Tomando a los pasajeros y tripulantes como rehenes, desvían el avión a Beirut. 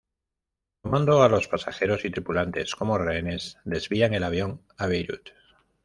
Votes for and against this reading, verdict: 2, 0, accepted